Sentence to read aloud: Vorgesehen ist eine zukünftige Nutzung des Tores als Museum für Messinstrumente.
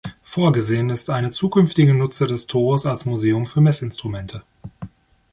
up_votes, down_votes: 1, 2